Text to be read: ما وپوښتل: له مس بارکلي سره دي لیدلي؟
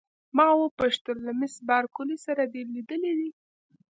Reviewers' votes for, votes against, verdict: 2, 0, accepted